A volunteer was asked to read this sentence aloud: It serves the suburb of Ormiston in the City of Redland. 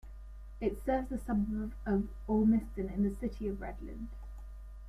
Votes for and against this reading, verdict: 1, 2, rejected